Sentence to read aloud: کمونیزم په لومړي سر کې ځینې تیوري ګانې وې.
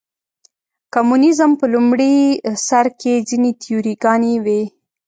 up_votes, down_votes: 2, 0